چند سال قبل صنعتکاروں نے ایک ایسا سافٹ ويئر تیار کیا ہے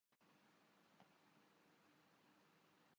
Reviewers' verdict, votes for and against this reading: rejected, 0, 2